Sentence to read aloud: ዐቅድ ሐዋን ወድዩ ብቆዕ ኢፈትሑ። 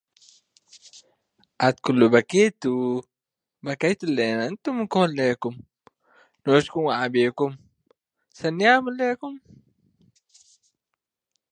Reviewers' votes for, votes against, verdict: 0, 2, rejected